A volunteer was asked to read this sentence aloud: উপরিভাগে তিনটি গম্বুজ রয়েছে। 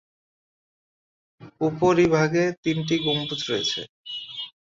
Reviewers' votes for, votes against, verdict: 16, 3, accepted